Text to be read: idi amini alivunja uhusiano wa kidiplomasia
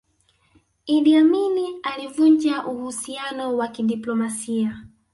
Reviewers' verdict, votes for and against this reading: accepted, 2, 0